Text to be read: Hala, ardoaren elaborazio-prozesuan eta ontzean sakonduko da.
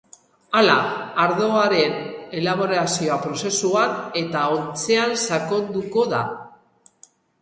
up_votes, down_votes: 0, 4